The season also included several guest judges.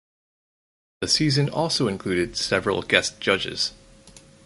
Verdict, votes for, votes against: accepted, 4, 0